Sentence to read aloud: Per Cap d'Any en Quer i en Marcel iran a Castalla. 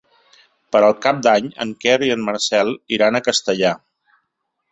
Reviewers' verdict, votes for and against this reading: rejected, 1, 2